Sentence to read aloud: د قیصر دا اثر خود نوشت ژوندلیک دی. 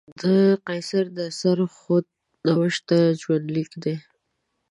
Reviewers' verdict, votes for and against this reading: rejected, 0, 2